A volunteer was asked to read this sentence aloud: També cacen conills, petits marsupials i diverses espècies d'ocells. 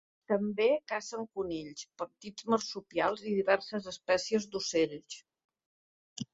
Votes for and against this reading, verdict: 2, 0, accepted